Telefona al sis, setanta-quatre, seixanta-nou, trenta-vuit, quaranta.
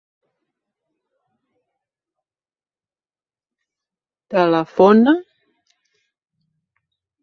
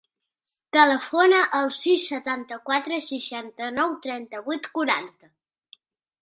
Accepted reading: second